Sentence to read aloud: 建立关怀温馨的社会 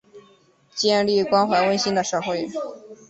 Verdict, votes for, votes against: accepted, 6, 0